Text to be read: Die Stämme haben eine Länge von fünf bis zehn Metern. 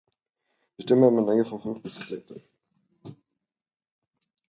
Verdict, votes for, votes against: rejected, 0, 2